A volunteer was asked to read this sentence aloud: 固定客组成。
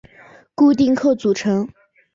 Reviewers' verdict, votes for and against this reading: accepted, 2, 0